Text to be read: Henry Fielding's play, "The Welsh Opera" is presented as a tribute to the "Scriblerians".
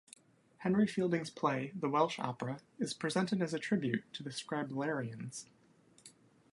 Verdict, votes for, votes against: accepted, 2, 0